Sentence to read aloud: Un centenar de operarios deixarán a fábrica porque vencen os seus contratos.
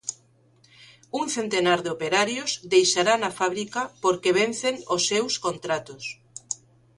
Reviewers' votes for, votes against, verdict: 2, 0, accepted